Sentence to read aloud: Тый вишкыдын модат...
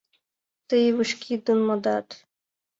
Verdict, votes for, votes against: rejected, 1, 6